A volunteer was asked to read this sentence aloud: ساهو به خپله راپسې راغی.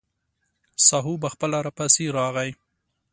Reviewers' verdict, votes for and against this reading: accepted, 3, 0